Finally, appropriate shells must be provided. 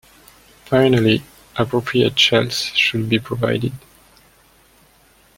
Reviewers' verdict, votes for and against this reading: rejected, 1, 2